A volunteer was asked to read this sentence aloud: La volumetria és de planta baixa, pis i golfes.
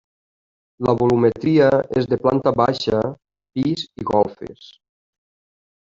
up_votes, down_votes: 1, 2